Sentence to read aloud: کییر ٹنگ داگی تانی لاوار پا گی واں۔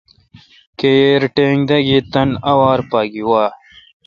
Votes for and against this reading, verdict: 0, 2, rejected